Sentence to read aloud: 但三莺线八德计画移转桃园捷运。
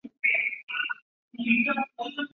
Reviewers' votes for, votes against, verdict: 0, 2, rejected